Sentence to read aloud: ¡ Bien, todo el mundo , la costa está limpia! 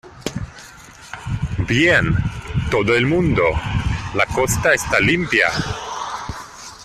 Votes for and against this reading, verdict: 2, 0, accepted